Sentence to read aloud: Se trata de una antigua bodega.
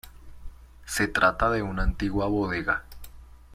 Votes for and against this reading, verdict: 2, 1, accepted